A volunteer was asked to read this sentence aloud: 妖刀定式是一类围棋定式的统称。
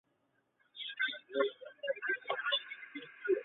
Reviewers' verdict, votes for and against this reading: rejected, 0, 2